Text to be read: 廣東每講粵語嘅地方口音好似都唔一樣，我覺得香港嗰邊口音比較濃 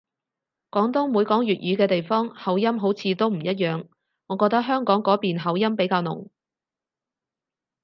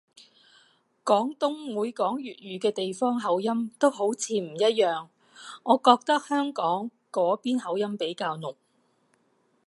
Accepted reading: second